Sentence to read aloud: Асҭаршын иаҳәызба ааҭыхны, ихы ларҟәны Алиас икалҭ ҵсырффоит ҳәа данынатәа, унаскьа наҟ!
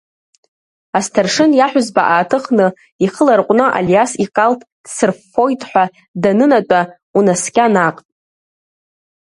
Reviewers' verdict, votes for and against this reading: accepted, 2, 0